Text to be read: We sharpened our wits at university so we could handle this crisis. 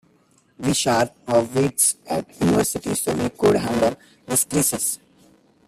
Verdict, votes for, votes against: rejected, 0, 2